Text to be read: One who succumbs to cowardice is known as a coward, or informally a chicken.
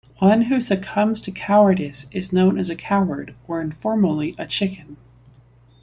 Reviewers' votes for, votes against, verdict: 1, 2, rejected